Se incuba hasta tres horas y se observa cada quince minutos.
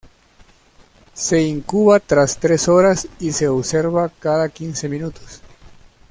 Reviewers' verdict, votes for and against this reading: rejected, 1, 2